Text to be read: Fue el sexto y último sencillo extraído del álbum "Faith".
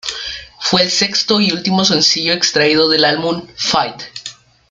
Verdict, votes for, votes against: accepted, 2, 0